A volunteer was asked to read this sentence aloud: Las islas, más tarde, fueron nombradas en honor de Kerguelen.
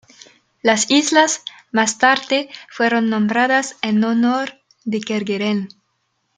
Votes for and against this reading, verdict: 1, 2, rejected